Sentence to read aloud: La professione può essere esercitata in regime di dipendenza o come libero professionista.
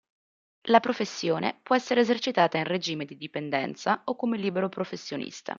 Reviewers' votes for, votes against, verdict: 2, 0, accepted